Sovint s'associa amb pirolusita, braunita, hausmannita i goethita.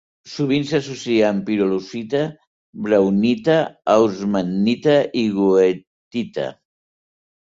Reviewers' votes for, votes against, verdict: 2, 0, accepted